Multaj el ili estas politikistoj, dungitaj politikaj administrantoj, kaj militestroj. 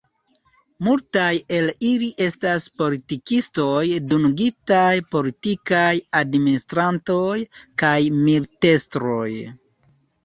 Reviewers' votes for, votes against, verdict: 1, 2, rejected